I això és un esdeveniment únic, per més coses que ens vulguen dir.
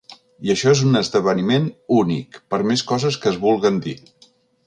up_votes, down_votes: 1, 2